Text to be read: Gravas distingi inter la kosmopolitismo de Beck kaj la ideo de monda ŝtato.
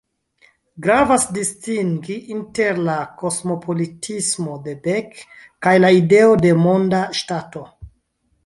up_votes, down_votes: 1, 2